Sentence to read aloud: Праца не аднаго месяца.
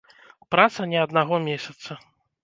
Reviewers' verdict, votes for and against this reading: accepted, 2, 0